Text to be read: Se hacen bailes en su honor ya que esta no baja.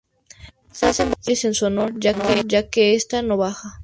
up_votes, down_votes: 0, 2